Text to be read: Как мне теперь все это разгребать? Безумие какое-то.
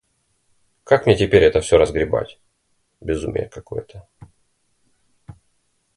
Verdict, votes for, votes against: rejected, 1, 2